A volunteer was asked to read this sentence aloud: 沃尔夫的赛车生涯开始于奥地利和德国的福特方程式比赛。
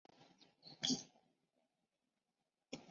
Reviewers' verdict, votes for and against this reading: rejected, 0, 4